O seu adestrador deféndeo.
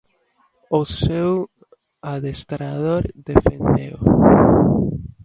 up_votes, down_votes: 0, 2